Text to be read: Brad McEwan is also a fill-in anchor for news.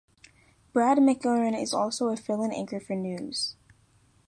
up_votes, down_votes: 0, 2